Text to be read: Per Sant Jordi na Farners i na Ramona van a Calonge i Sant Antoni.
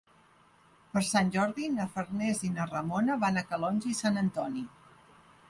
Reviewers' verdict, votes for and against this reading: accepted, 3, 0